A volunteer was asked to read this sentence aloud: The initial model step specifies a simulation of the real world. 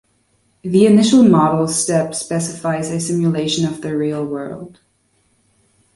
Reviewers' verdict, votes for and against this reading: accepted, 2, 0